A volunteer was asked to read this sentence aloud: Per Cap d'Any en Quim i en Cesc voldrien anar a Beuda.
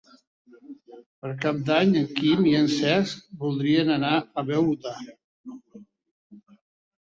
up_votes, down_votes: 2, 1